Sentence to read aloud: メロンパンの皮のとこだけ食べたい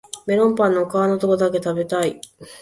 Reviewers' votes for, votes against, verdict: 2, 0, accepted